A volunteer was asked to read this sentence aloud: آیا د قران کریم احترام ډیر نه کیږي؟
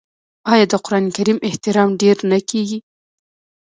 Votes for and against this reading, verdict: 0, 2, rejected